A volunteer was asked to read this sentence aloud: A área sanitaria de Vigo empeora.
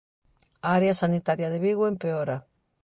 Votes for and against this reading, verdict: 3, 0, accepted